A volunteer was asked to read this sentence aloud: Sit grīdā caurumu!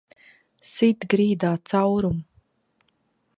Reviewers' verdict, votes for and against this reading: rejected, 0, 2